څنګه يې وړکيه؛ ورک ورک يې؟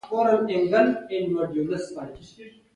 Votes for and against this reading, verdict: 1, 2, rejected